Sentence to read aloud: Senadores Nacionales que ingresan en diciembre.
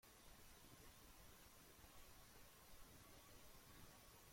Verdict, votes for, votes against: rejected, 0, 2